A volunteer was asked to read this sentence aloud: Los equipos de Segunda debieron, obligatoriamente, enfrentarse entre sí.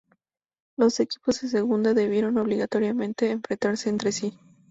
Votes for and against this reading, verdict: 2, 0, accepted